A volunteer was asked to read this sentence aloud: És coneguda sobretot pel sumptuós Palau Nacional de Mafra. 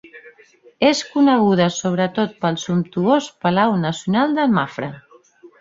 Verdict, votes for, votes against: accepted, 3, 1